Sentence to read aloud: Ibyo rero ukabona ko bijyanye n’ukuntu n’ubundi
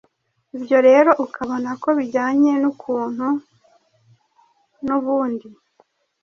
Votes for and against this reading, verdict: 2, 0, accepted